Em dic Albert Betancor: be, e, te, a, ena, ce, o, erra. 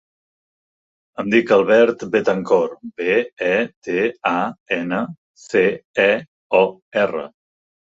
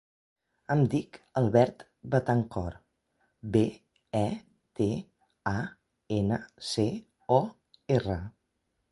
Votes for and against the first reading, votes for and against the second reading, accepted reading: 1, 3, 3, 0, second